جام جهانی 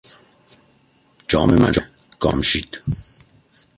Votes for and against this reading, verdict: 0, 2, rejected